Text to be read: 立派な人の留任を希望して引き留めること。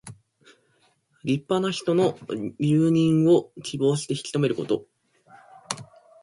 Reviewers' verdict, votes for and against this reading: accepted, 2, 0